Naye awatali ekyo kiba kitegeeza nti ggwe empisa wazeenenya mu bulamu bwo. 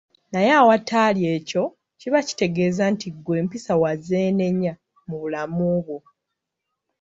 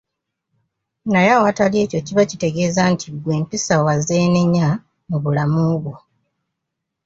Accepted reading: second